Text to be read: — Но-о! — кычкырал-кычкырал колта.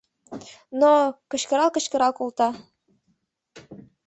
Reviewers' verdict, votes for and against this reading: accepted, 2, 0